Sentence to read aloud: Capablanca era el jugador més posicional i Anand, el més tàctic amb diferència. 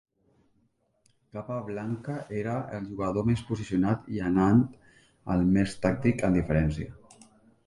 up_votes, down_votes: 2, 1